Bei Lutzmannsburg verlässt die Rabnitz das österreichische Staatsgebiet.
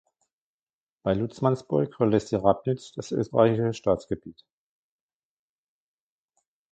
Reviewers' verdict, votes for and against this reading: rejected, 1, 2